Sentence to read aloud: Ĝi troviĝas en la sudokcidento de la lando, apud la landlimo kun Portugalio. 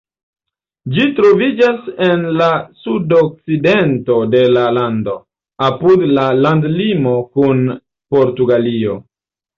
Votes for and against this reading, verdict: 0, 2, rejected